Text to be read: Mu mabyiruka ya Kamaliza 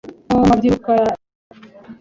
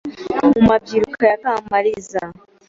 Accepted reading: second